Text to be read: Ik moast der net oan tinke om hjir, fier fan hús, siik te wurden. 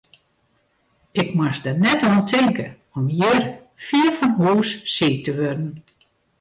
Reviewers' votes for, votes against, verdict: 0, 2, rejected